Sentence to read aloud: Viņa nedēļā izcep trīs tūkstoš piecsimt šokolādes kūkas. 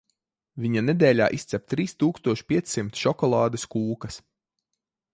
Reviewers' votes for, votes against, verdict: 2, 1, accepted